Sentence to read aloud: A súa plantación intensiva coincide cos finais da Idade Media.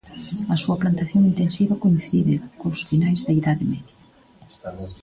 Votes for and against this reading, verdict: 0, 2, rejected